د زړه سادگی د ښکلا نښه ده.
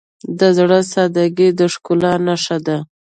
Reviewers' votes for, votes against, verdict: 2, 0, accepted